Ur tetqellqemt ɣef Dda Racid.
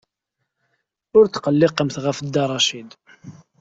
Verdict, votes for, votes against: accepted, 2, 0